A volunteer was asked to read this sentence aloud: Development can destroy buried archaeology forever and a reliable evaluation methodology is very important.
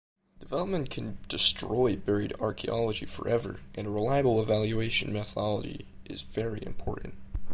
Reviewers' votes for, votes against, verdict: 1, 2, rejected